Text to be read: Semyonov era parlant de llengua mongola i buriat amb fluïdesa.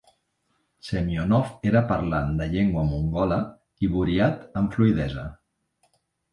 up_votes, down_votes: 2, 0